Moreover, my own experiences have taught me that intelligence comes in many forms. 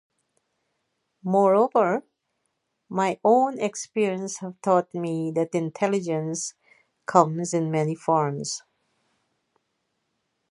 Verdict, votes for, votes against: rejected, 0, 2